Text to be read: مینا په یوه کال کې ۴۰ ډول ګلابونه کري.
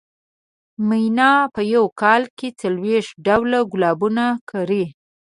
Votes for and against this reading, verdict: 0, 2, rejected